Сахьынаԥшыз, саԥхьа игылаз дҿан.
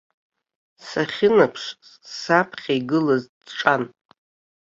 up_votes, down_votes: 2, 0